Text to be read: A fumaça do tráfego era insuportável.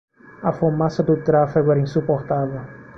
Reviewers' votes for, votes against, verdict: 2, 0, accepted